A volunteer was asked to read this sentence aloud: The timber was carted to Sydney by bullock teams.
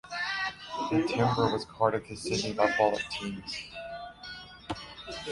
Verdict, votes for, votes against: rejected, 0, 2